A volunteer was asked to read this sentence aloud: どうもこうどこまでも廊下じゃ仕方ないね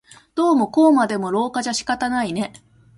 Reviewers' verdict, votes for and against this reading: rejected, 0, 2